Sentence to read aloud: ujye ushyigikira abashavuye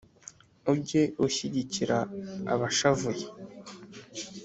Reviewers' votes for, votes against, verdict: 3, 0, accepted